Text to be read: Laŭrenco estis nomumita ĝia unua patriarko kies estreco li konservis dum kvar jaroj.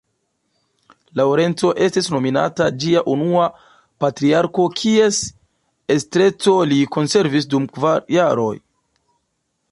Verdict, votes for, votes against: accepted, 2, 0